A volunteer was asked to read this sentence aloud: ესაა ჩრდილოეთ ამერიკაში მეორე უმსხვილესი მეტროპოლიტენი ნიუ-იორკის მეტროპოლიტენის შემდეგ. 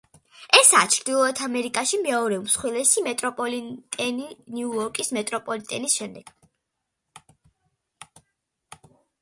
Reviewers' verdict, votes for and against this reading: accepted, 2, 0